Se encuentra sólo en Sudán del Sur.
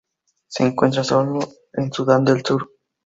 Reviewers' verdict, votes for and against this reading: accepted, 2, 0